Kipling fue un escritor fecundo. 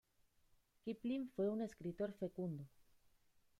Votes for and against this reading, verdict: 2, 0, accepted